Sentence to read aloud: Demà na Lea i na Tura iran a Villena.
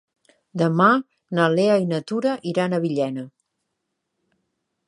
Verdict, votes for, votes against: accepted, 5, 0